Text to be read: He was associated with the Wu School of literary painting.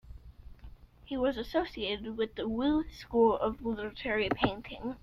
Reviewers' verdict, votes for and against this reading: rejected, 1, 2